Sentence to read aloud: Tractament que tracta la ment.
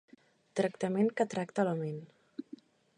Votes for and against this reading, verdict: 3, 0, accepted